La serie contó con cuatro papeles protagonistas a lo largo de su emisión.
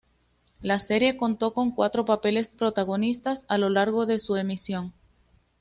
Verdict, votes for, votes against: accepted, 2, 0